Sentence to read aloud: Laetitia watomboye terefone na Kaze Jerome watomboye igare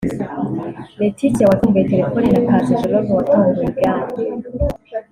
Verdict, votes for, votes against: rejected, 0, 2